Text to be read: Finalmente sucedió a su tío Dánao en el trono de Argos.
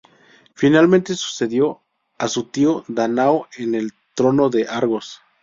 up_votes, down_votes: 2, 0